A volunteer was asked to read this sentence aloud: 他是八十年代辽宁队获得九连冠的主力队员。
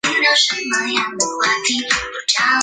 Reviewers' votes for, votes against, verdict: 0, 2, rejected